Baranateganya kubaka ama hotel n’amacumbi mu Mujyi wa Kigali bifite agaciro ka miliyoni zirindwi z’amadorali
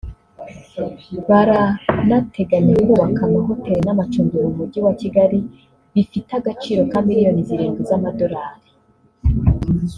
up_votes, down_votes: 2, 0